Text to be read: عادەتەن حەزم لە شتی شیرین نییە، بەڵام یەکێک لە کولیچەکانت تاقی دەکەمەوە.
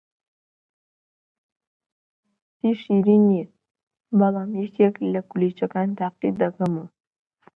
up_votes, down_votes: 0, 2